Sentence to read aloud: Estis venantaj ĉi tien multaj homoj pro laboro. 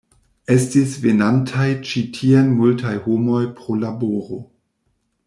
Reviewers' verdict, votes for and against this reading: rejected, 1, 2